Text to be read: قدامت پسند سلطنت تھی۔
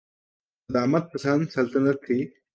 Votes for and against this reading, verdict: 2, 0, accepted